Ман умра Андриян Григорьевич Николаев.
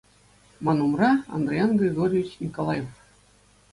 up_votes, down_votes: 2, 0